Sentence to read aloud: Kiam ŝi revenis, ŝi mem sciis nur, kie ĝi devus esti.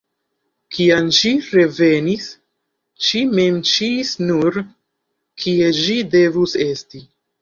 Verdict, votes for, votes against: rejected, 1, 2